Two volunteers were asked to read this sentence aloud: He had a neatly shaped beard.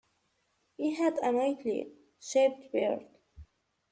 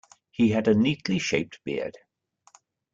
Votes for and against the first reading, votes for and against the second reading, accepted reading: 1, 2, 2, 0, second